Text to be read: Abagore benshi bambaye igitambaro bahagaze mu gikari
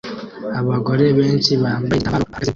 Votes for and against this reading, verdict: 0, 2, rejected